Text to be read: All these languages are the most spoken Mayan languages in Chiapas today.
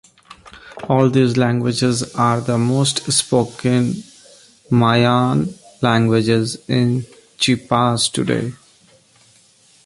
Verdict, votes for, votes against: rejected, 1, 2